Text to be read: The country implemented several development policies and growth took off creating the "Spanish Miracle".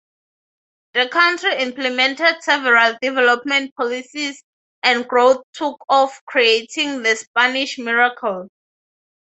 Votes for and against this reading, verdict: 6, 0, accepted